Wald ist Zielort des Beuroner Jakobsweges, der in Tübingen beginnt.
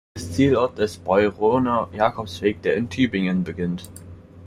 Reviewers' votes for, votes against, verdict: 0, 2, rejected